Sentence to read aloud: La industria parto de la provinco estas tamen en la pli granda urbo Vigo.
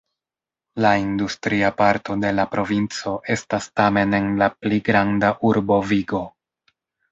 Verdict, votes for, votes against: rejected, 1, 2